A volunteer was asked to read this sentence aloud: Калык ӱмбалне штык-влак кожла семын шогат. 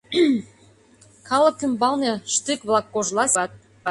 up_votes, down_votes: 0, 2